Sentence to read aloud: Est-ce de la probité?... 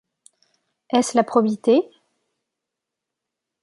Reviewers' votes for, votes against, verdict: 0, 2, rejected